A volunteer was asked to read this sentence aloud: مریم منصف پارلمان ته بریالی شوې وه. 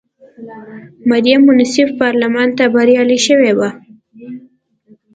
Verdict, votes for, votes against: accepted, 2, 0